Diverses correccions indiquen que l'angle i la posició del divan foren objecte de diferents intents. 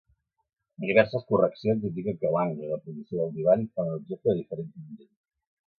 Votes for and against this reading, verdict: 1, 2, rejected